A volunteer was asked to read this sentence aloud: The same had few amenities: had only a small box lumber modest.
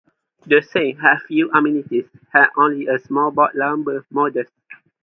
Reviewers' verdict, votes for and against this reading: accepted, 2, 0